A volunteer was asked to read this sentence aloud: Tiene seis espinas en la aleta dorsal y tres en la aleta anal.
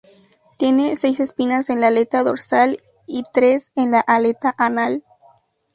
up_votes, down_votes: 2, 0